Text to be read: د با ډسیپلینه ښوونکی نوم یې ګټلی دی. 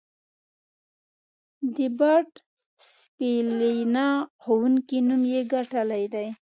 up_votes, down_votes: 0, 2